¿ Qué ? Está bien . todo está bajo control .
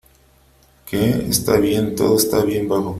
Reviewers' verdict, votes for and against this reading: rejected, 0, 3